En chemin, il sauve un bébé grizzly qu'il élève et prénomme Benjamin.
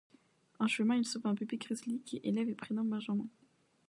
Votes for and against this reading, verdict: 1, 2, rejected